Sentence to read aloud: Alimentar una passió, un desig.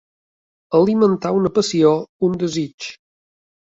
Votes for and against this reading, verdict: 3, 0, accepted